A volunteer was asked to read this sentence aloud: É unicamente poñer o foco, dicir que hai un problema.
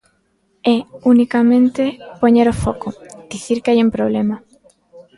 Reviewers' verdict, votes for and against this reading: accepted, 2, 0